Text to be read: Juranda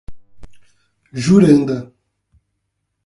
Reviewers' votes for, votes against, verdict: 8, 0, accepted